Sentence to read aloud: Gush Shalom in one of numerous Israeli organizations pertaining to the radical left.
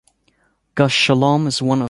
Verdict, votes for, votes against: rejected, 0, 2